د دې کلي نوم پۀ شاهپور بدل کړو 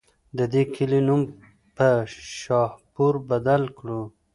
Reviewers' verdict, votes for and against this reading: accepted, 2, 0